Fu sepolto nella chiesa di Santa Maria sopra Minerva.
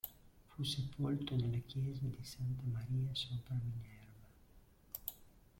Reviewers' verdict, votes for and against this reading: rejected, 0, 2